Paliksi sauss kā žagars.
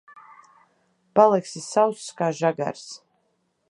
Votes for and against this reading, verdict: 2, 0, accepted